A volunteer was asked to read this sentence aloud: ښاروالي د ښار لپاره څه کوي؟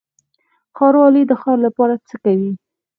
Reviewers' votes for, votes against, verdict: 2, 4, rejected